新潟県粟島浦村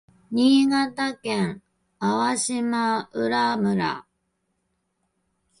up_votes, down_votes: 0, 2